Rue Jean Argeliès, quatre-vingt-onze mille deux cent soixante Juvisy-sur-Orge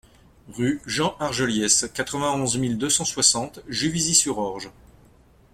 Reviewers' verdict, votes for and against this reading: accepted, 2, 0